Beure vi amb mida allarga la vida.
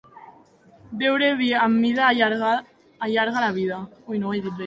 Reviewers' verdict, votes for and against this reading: rejected, 0, 2